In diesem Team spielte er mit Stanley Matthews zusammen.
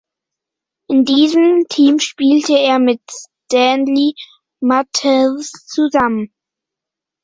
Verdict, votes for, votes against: rejected, 0, 2